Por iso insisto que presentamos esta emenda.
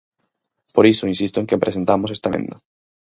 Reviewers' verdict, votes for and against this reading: rejected, 0, 4